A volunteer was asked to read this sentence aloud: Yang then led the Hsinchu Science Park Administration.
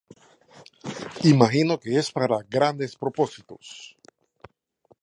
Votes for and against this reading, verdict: 0, 2, rejected